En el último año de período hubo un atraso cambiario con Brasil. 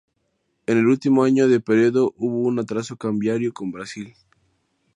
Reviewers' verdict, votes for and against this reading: accepted, 2, 0